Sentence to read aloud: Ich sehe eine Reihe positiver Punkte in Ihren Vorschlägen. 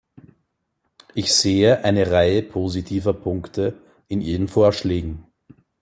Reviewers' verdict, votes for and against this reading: accepted, 2, 0